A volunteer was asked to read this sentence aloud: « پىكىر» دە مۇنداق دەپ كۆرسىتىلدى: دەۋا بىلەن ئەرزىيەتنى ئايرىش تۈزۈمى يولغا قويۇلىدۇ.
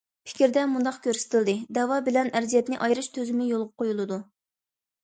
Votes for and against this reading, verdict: 1, 2, rejected